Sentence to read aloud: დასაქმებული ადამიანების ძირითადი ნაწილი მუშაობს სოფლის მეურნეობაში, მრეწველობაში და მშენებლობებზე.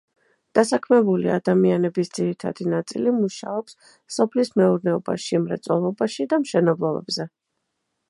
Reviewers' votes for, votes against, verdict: 2, 0, accepted